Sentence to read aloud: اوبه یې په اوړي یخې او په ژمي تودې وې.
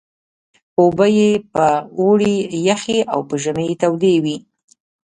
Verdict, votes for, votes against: accepted, 2, 1